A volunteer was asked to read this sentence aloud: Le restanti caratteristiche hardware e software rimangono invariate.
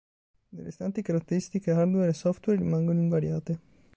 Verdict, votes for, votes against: accepted, 2, 1